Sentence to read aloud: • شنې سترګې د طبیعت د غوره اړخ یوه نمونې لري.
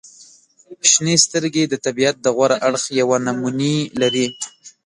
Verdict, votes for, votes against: accepted, 2, 1